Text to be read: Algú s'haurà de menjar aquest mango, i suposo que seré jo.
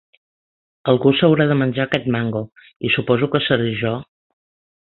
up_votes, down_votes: 4, 0